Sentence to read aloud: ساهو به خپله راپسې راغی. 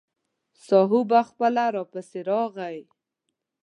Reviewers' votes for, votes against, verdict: 3, 0, accepted